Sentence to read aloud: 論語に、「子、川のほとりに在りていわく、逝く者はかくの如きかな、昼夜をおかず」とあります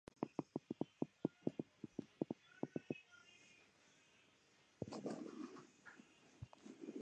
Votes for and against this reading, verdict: 0, 4, rejected